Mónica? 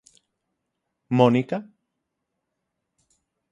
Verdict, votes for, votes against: accepted, 6, 0